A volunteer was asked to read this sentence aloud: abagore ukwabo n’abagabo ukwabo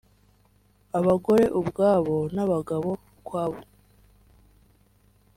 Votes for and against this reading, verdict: 2, 3, rejected